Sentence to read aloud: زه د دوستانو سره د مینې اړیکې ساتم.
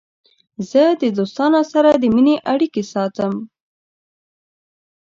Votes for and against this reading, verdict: 2, 0, accepted